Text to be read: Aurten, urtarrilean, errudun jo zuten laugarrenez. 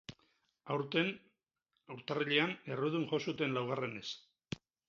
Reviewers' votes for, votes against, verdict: 2, 2, rejected